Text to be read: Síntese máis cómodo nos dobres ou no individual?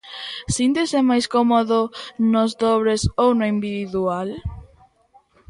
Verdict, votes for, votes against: rejected, 1, 2